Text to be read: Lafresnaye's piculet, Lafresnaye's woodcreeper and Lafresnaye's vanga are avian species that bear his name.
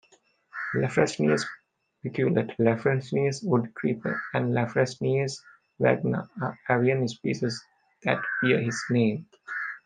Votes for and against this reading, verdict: 0, 2, rejected